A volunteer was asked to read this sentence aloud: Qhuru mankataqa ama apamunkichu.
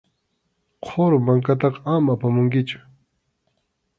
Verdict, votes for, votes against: accepted, 2, 0